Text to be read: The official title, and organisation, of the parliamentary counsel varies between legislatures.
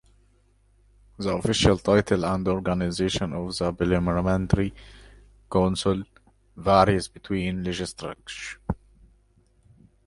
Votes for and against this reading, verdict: 0, 2, rejected